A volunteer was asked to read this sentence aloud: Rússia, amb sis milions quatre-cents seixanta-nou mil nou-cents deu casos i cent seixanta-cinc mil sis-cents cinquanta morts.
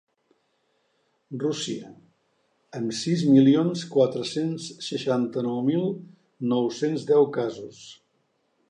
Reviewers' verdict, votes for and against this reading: rejected, 1, 2